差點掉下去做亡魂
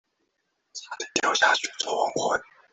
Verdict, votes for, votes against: rejected, 1, 2